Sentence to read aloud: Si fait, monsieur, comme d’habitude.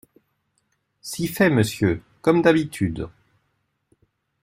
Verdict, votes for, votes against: accepted, 2, 0